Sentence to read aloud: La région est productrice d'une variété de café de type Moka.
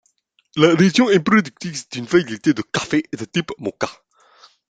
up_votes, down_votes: 2, 0